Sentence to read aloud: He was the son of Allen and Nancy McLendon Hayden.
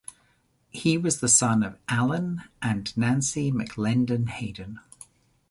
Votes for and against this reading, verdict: 2, 0, accepted